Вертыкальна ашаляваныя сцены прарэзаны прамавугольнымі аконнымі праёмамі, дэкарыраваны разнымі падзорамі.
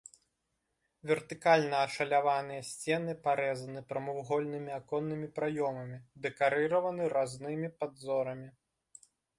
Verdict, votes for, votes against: rejected, 0, 2